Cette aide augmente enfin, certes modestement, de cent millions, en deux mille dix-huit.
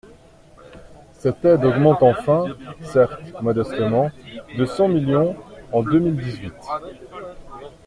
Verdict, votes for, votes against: accepted, 2, 0